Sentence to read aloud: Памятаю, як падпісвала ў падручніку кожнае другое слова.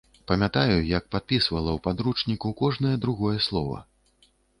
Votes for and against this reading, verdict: 1, 2, rejected